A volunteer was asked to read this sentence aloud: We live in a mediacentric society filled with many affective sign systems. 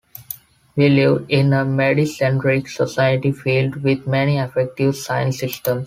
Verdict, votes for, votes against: rejected, 1, 2